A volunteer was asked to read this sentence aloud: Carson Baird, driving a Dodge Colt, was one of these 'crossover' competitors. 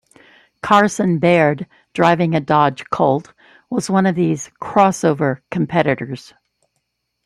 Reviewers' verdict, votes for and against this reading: accepted, 2, 0